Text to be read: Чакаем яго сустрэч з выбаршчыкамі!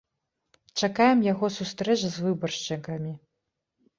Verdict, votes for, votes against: accepted, 2, 0